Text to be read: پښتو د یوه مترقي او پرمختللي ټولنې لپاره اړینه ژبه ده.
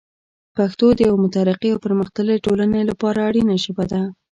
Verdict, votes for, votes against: accepted, 2, 0